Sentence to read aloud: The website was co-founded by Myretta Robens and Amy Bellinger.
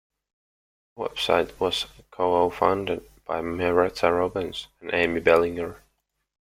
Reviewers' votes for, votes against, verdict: 2, 0, accepted